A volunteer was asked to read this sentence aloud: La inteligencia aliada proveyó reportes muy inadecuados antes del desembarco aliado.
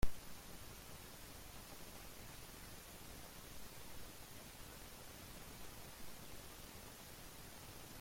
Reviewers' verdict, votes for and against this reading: rejected, 0, 2